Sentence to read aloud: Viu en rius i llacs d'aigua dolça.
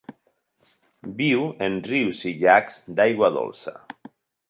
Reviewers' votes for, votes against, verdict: 4, 0, accepted